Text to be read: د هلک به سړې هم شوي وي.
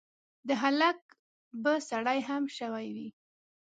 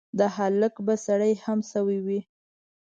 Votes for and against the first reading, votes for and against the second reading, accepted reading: 1, 2, 2, 0, second